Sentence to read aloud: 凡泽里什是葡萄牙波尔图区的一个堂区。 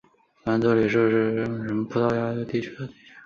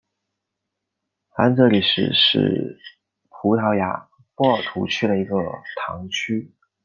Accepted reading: second